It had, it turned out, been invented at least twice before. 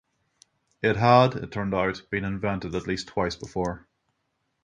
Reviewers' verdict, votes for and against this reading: accepted, 6, 0